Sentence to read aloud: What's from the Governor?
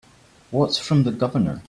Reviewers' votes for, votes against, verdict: 3, 0, accepted